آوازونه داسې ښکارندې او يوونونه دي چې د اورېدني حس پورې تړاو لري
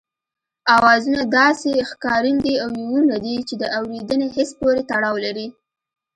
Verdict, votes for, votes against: accepted, 2, 1